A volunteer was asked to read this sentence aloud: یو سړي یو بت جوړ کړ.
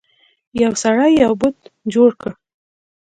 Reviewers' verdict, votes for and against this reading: rejected, 1, 2